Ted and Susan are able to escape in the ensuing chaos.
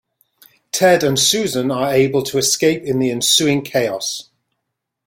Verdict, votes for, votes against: accepted, 2, 0